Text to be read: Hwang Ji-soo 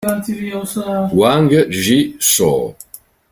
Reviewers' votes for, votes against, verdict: 1, 3, rejected